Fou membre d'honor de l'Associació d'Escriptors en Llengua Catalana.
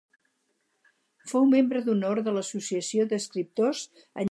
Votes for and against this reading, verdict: 0, 2, rejected